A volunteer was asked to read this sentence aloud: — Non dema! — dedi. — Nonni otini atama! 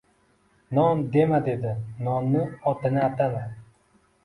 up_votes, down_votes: 2, 0